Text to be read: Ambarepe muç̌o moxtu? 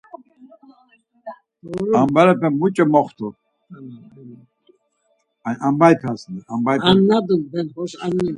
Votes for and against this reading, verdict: 0, 4, rejected